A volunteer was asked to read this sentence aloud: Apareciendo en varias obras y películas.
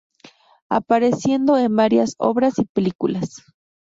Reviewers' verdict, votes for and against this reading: accepted, 2, 0